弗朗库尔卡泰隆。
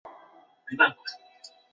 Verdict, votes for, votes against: rejected, 1, 2